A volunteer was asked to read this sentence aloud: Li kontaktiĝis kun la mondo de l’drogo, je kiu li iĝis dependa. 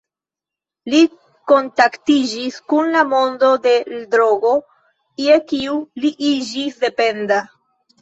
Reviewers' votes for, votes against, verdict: 2, 1, accepted